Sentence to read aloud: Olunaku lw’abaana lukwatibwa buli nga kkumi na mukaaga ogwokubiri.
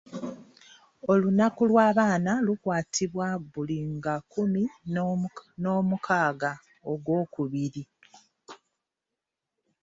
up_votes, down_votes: 0, 2